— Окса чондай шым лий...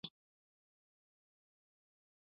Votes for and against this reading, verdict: 0, 2, rejected